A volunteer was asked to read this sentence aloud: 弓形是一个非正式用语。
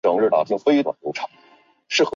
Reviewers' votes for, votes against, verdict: 3, 1, accepted